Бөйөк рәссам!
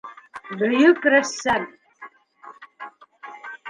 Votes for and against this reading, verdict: 3, 1, accepted